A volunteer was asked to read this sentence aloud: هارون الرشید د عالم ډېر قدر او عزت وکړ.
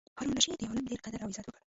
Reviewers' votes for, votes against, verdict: 1, 2, rejected